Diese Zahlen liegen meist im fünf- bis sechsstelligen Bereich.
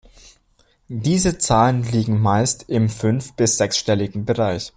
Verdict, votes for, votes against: accepted, 2, 0